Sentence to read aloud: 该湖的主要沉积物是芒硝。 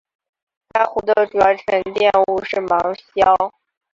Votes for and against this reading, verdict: 0, 2, rejected